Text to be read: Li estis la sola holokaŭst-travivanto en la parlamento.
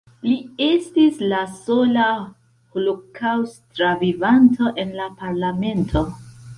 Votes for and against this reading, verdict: 1, 2, rejected